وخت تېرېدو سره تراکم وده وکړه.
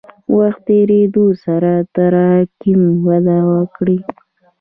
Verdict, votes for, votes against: rejected, 0, 2